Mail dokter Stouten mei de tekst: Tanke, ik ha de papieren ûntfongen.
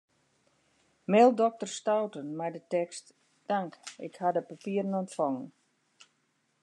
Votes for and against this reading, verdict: 2, 0, accepted